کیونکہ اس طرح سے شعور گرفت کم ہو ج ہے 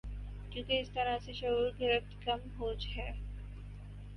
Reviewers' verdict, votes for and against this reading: accepted, 8, 0